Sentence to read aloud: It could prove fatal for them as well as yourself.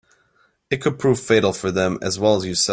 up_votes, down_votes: 0, 2